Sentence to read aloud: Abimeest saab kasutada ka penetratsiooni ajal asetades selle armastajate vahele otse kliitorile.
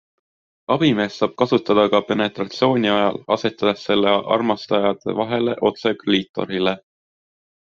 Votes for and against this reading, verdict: 2, 0, accepted